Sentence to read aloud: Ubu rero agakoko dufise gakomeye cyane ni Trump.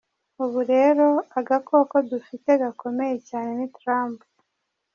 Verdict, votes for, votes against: accepted, 2, 0